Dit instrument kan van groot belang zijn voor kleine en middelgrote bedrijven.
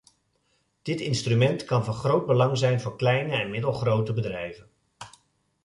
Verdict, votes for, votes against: accepted, 2, 1